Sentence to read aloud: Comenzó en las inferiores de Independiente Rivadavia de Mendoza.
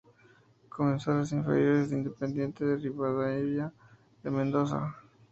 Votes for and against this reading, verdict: 0, 2, rejected